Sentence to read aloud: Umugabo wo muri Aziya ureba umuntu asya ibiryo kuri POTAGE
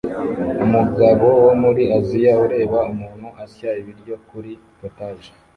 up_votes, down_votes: 0, 2